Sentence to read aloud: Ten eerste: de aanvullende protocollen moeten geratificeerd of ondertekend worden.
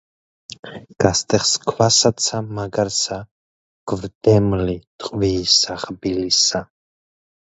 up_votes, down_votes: 0, 2